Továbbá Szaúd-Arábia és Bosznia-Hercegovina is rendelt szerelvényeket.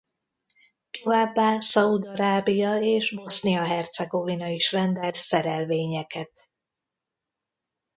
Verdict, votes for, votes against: accepted, 2, 0